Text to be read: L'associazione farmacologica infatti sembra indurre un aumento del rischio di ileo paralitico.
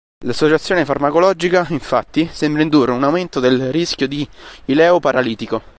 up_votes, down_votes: 4, 0